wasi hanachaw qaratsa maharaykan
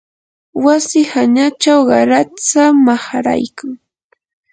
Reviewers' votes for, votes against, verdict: 2, 0, accepted